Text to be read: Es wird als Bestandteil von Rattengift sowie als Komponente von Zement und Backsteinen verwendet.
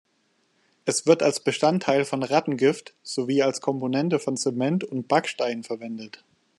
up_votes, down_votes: 2, 0